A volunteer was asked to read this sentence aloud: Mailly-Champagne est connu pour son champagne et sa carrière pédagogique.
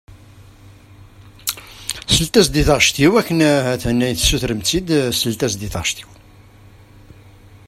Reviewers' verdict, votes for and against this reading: rejected, 0, 2